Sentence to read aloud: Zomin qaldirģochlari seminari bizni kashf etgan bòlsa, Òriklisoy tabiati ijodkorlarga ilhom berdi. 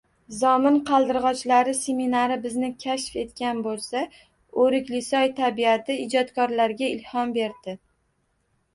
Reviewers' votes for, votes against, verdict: 2, 1, accepted